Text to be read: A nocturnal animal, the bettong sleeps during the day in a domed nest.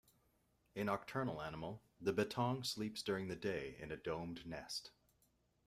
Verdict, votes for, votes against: accepted, 2, 1